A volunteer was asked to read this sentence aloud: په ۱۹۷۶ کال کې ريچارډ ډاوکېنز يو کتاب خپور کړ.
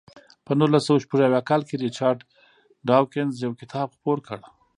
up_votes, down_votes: 0, 2